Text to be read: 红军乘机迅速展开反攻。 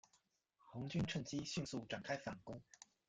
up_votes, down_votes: 1, 2